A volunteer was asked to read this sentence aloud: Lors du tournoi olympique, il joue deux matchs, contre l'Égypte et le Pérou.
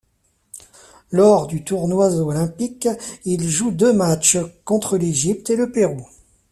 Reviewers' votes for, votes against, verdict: 0, 2, rejected